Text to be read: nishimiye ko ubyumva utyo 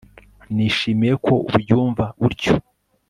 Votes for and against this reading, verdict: 2, 0, accepted